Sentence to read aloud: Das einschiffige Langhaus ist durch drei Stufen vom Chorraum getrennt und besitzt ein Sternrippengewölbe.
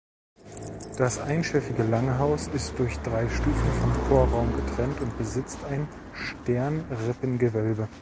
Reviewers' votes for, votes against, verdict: 2, 0, accepted